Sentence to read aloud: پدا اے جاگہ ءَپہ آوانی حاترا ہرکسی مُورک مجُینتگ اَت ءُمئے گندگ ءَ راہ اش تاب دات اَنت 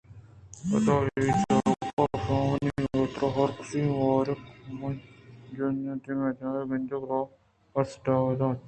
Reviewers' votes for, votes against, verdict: 2, 0, accepted